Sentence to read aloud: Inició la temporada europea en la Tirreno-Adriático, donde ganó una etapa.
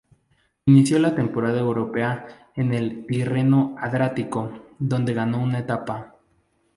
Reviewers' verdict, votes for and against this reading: rejected, 0, 2